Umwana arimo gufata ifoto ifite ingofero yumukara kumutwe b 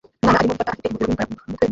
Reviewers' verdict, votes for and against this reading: rejected, 0, 2